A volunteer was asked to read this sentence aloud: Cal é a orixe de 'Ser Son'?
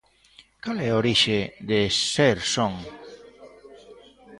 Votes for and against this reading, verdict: 2, 0, accepted